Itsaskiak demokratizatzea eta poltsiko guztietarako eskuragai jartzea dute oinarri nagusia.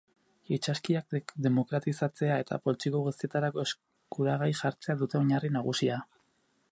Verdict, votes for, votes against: rejected, 0, 4